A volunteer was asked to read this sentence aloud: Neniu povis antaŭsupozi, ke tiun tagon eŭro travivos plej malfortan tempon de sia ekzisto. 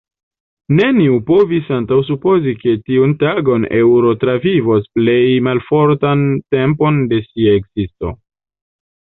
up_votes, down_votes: 0, 2